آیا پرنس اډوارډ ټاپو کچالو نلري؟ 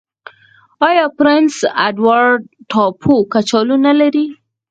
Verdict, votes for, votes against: rejected, 2, 4